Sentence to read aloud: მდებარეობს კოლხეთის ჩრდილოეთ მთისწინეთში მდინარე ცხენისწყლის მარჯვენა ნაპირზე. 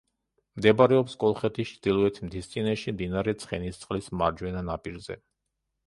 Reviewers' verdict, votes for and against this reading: accepted, 2, 1